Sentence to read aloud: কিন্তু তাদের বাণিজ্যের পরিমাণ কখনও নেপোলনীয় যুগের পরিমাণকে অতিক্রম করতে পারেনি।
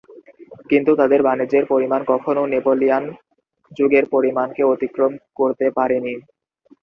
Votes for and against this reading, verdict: 0, 2, rejected